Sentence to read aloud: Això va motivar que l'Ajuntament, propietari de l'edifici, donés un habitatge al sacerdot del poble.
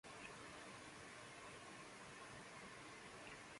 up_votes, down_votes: 0, 2